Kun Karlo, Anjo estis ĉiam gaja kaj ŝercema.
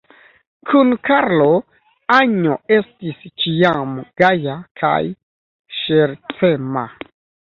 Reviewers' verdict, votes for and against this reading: rejected, 1, 2